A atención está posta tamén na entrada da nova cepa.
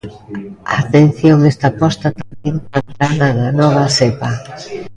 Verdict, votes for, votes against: rejected, 0, 2